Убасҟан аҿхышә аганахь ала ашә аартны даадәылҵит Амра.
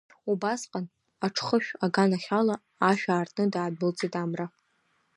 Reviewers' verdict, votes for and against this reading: accepted, 2, 0